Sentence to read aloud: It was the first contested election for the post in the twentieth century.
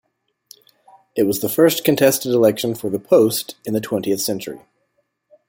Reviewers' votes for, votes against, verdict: 2, 0, accepted